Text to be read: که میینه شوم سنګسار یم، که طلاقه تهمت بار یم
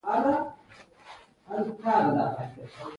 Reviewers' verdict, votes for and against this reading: rejected, 1, 2